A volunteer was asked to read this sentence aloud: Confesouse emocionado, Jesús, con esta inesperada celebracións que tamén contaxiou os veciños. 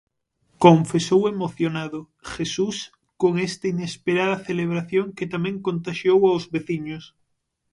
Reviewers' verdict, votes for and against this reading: rejected, 0, 6